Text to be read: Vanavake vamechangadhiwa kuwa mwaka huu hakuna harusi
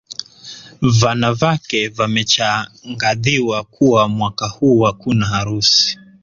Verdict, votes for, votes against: accepted, 2, 0